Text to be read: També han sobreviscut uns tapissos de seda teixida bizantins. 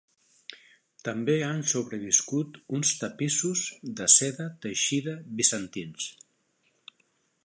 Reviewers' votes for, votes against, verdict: 3, 0, accepted